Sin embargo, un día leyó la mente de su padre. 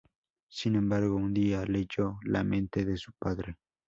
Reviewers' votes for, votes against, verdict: 2, 0, accepted